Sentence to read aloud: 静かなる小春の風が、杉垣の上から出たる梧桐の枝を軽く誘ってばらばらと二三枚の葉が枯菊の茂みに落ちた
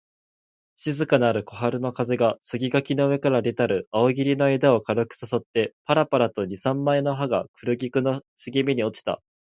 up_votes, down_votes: 2, 1